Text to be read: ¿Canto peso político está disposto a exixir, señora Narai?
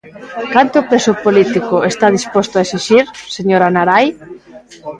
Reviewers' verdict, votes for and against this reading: rejected, 1, 2